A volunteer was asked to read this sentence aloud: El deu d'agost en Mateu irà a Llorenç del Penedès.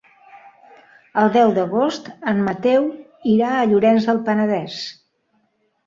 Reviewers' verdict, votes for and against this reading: accepted, 4, 0